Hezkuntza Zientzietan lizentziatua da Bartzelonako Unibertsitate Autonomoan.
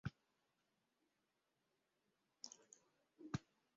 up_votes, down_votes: 0, 2